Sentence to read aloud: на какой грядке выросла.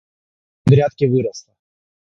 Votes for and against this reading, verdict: 0, 3, rejected